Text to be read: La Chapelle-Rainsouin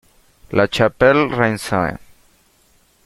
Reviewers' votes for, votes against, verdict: 0, 2, rejected